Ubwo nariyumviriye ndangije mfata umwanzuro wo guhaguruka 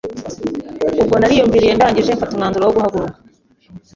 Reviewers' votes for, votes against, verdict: 3, 0, accepted